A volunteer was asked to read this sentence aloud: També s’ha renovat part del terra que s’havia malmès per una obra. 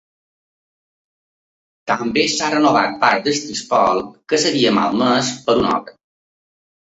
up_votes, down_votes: 1, 4